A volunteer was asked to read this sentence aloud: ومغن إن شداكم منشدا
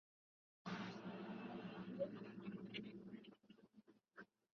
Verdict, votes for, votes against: rejected, 0, 2